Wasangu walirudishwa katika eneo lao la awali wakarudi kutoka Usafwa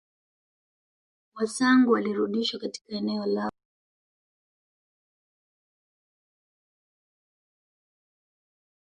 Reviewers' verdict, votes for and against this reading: rejected, 0, 2